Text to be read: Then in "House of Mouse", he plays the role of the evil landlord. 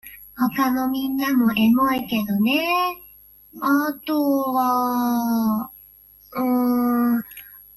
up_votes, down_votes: 0, 2